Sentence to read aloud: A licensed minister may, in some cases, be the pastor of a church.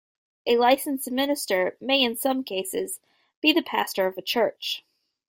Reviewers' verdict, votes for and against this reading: accepted, 2, 0